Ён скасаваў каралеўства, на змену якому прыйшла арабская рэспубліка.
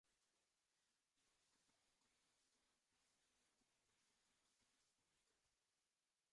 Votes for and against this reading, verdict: 0, 2, rejected